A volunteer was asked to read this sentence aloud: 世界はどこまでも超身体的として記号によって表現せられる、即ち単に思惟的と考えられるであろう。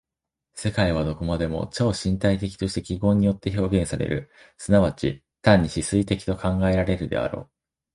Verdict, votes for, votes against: rejected, 1, 2